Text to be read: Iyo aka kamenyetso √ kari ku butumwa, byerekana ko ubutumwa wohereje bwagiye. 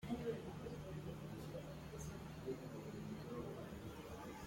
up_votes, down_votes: 0, 2